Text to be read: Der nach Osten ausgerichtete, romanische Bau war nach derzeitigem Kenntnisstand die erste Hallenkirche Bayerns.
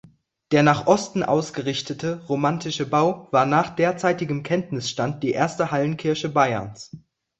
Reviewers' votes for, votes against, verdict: 0, 2, rejected